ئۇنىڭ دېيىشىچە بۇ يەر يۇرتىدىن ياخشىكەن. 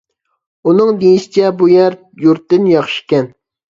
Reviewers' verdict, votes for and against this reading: rejected, 0, 2